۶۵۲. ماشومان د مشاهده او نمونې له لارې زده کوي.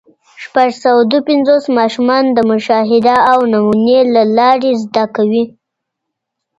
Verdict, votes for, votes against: rejected, 0, 2